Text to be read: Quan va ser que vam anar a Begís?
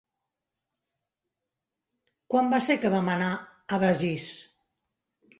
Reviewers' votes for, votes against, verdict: 1, 2, rejected